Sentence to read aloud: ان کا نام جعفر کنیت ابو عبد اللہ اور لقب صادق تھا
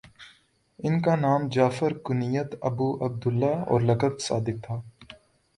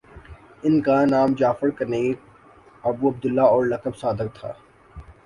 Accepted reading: first